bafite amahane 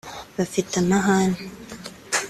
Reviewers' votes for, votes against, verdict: 2, 0, accepted